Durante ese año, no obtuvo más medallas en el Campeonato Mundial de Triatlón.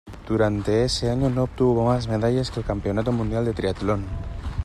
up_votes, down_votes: 2, 1